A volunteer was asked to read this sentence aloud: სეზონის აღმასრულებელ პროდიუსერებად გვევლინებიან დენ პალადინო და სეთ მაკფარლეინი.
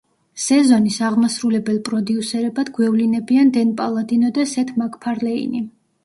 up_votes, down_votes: 1, 2